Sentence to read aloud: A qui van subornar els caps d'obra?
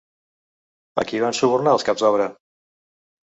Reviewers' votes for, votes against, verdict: 3, 0, accepted